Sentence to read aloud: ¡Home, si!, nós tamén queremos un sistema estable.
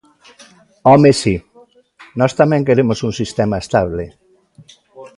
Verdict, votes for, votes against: accepted, 2, 0